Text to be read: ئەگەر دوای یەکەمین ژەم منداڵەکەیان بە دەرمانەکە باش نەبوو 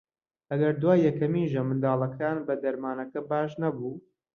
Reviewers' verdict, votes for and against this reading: rejected, 1, 2